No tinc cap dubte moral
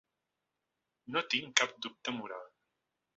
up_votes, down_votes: 1, 2